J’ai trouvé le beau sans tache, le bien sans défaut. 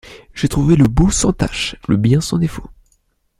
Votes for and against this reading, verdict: 2, 0, accepted